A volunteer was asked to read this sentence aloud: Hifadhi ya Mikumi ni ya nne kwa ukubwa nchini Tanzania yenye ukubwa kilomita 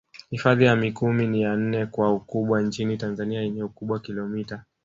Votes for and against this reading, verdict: 3, 0, accepted